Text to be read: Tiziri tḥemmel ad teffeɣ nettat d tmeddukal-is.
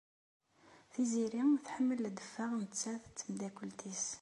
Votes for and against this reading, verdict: 0, 2, rejected